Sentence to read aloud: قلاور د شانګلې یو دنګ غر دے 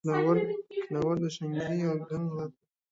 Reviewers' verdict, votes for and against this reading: rejected, 0, 2